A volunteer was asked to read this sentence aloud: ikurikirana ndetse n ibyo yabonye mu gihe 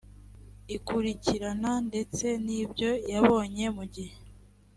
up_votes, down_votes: 3, 0